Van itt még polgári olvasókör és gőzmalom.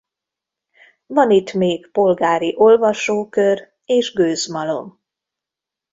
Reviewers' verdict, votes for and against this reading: accepted, 2, 0